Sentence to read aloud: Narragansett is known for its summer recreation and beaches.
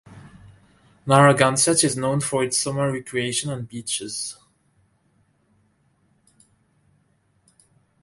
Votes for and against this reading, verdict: 2, 0, accepted